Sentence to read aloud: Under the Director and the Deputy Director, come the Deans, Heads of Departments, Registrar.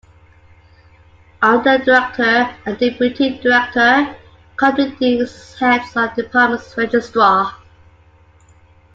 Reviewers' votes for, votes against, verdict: 0, 2, rejected